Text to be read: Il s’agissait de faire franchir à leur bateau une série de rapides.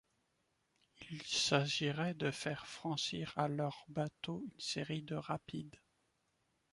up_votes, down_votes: 1, 2